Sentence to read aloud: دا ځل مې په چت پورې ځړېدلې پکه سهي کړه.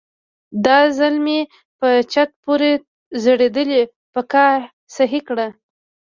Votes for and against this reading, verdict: 1, 2, rejected